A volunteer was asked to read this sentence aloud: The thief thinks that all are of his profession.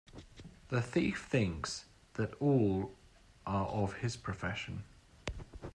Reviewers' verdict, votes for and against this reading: accepted, 2, 0